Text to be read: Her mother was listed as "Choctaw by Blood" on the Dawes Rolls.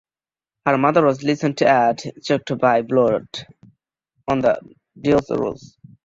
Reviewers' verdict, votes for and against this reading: rejected, 0, 2